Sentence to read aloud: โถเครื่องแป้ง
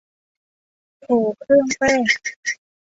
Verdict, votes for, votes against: accepted, 2, 1